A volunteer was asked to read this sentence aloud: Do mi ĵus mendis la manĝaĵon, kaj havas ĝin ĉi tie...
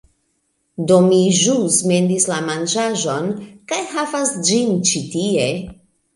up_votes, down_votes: 2, 1